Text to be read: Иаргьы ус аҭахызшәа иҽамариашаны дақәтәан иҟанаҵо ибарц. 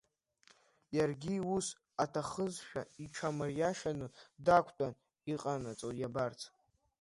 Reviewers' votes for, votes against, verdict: 0, 2, rejected